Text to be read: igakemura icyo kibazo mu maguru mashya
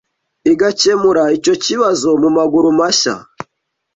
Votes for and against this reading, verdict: 2, 0, accepted